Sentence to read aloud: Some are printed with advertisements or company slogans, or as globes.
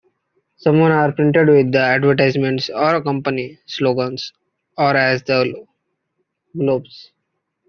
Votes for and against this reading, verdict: 1, 2, rejected